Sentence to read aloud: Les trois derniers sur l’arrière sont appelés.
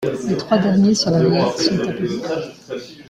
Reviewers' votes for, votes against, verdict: 0, 2, rejected